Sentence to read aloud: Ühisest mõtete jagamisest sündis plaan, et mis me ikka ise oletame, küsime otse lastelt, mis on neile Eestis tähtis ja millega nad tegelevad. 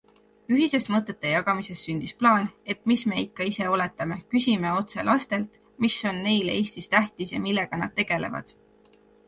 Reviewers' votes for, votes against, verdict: 3, 0, accepted